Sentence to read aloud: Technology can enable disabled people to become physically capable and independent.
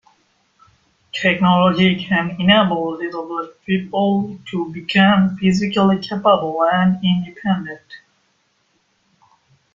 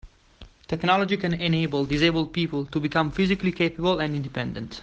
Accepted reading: second